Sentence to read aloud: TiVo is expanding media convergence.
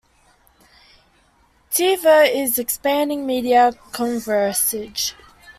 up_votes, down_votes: 0, 2